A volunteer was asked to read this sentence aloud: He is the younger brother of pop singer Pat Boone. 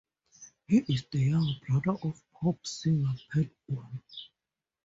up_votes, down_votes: 2, 0